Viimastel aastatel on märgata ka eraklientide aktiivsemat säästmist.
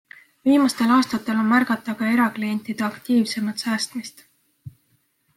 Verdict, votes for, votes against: accepted, 2, 0